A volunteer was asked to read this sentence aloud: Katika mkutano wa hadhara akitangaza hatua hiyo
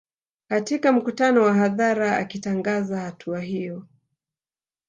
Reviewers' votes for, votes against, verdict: 1, 2, rejected